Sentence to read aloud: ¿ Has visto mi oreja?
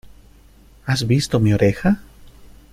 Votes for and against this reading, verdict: 2, 0, accepted